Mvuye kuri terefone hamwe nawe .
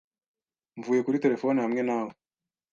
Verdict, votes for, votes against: accepted, 2, 0